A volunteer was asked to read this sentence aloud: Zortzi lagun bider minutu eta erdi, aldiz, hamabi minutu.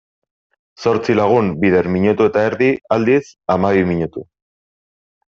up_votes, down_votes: 2, 0